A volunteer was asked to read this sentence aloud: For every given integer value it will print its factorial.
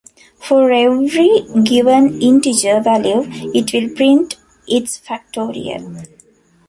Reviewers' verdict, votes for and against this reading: rejected, 1, 2